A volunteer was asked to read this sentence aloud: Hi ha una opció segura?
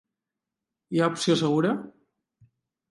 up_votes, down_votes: 0, 2